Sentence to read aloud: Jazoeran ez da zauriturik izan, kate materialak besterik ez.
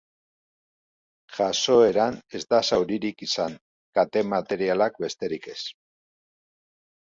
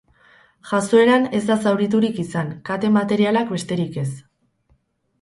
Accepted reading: first